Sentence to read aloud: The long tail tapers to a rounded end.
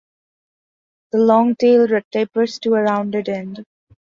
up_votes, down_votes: 2, 0